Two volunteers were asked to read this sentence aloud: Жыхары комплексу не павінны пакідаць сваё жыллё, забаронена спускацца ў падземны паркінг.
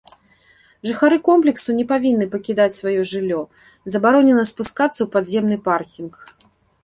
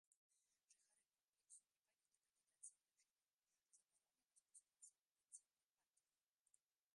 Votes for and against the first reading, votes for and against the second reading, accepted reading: 2, 0, 0, 2, first